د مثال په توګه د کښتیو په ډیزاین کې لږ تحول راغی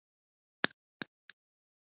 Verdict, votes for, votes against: rejected, 1, 2